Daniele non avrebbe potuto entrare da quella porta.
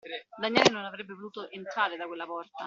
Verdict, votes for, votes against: accepted, 2, 1